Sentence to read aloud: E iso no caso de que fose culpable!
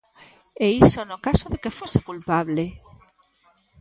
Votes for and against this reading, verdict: 2, 0, accepted